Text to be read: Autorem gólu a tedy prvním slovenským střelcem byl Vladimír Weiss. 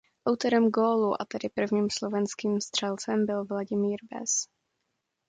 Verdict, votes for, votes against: accepted, 2, 0